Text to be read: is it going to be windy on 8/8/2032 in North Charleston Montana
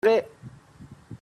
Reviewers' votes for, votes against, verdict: 0, 2, rejected